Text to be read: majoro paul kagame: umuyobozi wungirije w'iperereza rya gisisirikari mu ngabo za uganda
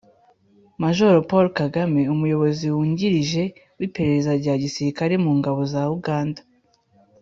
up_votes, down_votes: 3, 1